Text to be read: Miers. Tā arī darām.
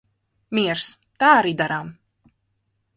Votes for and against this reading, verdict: 3, 3, rejected